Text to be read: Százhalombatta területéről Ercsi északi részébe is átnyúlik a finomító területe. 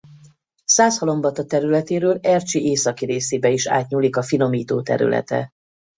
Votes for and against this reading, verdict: 2, 0, accepted